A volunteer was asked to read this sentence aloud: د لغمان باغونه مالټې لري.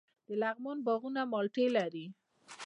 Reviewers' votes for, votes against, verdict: 2, 0, accepted